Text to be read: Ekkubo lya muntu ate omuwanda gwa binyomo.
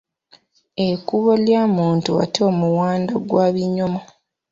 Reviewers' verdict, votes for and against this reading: rejected, 1, 2